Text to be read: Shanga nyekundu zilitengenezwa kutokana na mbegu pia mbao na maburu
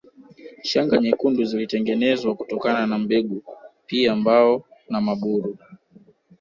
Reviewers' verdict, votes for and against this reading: accepted, 2, 0